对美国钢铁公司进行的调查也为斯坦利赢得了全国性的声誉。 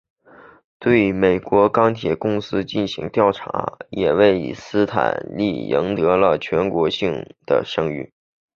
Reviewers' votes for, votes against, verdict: 2, 0, accepted